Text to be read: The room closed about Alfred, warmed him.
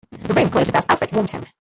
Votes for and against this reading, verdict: 0, 2, rejected